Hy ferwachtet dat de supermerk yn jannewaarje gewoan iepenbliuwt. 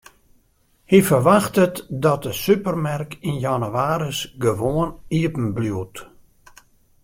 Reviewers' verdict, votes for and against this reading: rejected, 1, 2